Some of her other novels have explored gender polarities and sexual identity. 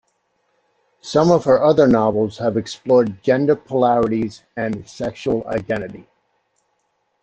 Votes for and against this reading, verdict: 2, 0, accepted